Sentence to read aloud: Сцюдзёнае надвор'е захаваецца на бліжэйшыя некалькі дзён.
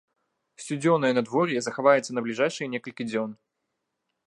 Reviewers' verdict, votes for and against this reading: rejected, 0, 2